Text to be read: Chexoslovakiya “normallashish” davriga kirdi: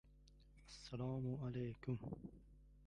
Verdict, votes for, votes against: rejected, 1, 2